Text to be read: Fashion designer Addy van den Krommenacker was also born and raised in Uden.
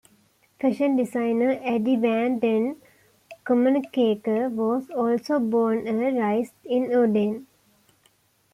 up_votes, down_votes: 1, 2